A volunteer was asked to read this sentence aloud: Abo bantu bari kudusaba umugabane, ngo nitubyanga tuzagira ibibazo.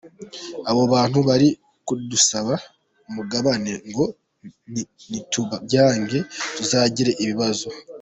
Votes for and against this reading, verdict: 0, 2, rejected